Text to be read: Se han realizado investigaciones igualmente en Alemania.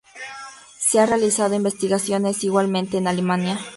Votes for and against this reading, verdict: 4, 0, accepted